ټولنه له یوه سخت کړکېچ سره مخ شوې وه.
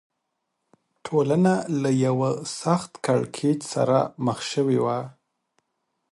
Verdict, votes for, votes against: accepted, 6, 0